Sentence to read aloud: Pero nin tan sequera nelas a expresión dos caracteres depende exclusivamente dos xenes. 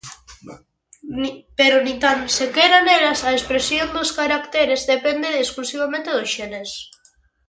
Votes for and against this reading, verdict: 0, 2, rejected